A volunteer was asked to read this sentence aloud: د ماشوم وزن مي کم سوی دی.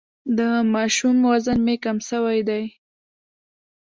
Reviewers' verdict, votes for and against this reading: accepted, 2, 0